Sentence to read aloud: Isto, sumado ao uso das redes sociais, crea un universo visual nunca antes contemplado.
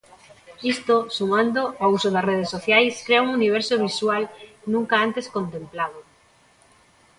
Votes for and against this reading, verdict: 0, 3, rejected